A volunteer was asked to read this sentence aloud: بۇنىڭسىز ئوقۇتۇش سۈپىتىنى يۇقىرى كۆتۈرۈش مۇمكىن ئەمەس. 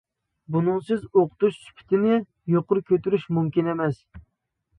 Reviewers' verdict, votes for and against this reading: accepted, 2, 0